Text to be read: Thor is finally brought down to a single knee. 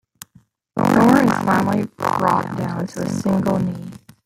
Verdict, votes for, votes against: accepted, 2, 0